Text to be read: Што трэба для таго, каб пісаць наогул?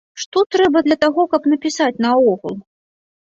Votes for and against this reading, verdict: 0, 2, rejected